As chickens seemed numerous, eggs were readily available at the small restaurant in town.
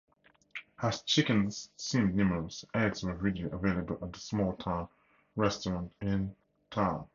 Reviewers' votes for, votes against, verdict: 2, 8, rejected